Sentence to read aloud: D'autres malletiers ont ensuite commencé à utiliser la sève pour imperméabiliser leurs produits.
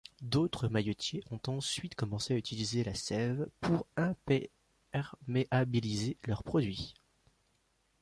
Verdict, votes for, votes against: rejected, 0, 2